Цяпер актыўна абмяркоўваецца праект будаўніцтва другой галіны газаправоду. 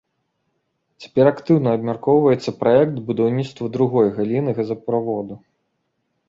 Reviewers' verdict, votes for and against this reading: rejected, 1, 2